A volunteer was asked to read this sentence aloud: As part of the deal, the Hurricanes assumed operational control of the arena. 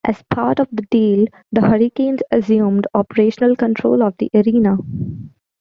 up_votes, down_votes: 2, 0